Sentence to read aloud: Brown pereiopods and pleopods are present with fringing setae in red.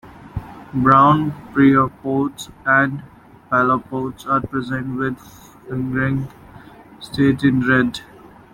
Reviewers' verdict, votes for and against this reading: rejected, 0, 2